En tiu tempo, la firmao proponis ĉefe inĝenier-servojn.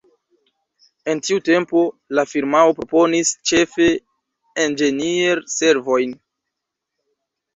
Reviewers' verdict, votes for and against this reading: rejected, 1, 2